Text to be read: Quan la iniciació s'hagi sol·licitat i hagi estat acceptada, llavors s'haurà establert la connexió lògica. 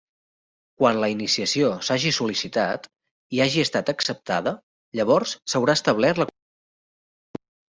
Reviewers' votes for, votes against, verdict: 0, 2, rejected